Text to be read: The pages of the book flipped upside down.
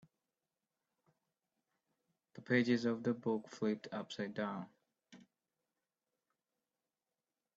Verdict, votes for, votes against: accepted, 4, 1